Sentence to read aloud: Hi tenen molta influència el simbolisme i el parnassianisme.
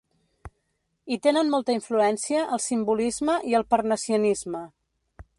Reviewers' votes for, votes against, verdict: 2, 0, accepted